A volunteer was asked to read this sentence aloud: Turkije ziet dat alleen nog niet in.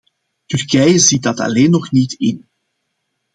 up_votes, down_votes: 2, 0